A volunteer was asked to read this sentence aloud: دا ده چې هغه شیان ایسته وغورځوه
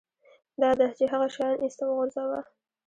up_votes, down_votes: 1, 2